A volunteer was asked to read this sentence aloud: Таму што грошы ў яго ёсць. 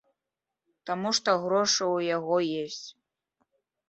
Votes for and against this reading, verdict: 0, 2, rejected